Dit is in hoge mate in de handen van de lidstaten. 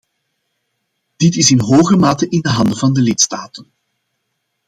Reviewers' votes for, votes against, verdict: 2, 1, accepted